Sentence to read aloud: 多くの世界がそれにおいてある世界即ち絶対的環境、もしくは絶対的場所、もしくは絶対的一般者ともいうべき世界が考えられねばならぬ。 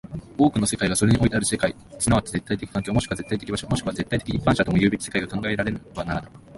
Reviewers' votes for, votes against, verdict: 3, 4, rejected